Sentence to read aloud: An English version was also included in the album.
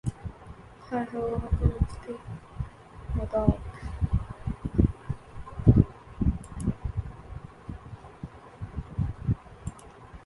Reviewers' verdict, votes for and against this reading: rejected, 0, 2